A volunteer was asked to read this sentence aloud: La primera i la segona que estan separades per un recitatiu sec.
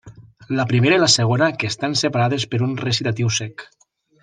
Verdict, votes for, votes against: accepted, 3, 0